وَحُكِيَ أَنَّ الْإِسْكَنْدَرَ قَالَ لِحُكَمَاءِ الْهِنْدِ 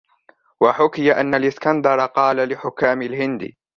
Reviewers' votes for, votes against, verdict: 0, 2, rejected